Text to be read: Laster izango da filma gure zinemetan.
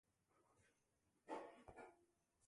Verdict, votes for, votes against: rejected, 0, 2